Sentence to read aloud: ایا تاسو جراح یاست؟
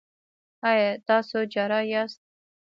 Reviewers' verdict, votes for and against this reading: accepted, 2, 0